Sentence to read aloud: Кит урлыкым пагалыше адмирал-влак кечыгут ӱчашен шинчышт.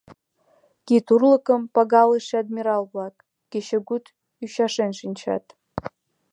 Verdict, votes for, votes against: rejected, 1, 2